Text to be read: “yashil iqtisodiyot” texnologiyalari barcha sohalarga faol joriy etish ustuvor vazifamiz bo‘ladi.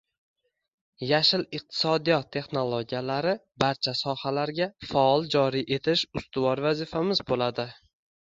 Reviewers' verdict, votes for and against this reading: rejected, 1, 2